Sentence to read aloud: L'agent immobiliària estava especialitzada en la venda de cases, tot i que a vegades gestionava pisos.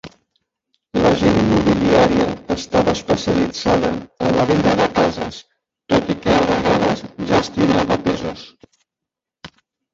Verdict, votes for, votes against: rejected, 0, 2